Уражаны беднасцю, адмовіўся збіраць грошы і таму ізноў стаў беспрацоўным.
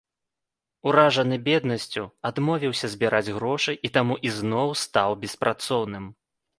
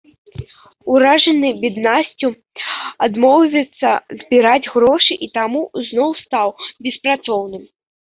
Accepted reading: first